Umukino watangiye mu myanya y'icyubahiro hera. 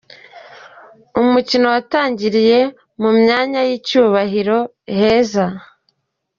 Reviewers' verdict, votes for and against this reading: rejected, 1, 2